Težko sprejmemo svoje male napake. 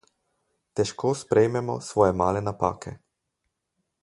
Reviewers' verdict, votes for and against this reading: accepted, 4, 0